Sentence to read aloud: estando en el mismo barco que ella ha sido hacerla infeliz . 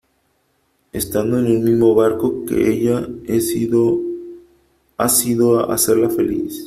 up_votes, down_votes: 0, 3